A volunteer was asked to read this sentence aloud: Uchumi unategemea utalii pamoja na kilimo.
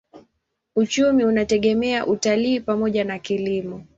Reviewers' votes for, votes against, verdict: 2, 0, accepted